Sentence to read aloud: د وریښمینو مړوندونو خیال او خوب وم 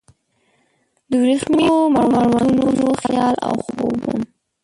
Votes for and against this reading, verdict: 0, 2, rejected